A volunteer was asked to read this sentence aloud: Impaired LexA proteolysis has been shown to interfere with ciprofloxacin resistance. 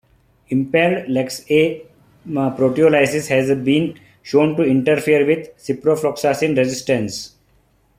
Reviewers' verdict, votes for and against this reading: rejected, 1, 2